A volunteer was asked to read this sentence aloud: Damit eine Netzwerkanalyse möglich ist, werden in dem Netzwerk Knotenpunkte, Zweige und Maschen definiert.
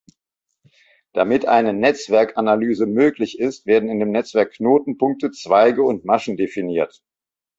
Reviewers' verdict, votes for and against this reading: accepted, 2, 0